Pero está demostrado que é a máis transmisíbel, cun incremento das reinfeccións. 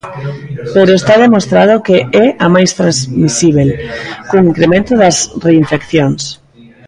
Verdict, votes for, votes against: rejected, 1, 2